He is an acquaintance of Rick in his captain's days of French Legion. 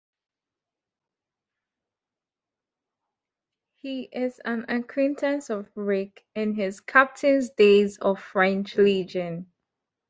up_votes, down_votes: 1, 2